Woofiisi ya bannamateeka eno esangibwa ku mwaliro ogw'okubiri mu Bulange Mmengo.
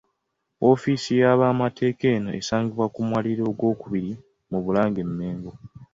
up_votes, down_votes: 1, 2